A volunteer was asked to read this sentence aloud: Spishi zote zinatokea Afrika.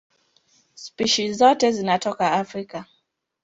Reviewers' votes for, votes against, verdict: 0, 2, rejected